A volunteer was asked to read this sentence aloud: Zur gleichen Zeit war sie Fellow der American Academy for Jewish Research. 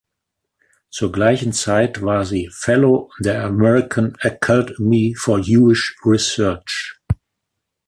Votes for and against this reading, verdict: 1, 2, rejected